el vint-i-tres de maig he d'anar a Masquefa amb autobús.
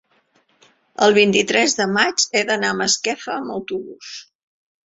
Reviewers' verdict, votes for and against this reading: accepted, 3, 0